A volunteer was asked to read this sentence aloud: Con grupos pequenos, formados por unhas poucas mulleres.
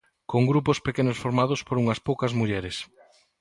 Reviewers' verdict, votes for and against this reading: accepted, 2, 0